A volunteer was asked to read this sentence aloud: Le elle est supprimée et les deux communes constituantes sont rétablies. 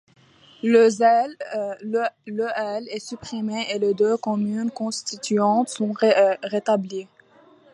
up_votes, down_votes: 1, 2